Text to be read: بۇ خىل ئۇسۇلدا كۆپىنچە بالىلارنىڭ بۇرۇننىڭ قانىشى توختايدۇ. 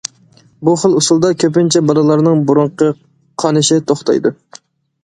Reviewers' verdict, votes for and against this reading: rejected, 0, 2